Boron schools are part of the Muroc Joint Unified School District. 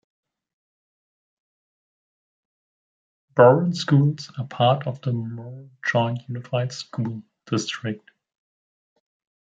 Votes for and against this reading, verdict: 0, 2, rejected